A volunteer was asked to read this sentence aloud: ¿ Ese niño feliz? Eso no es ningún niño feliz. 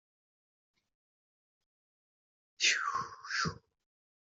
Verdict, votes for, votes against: rejected, 0, 2